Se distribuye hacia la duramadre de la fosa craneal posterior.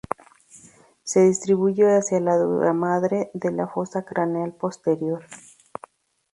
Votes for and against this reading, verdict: 0, 2, rejected